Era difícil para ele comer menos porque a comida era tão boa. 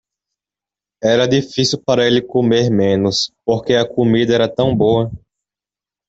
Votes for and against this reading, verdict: 2, 0, accepted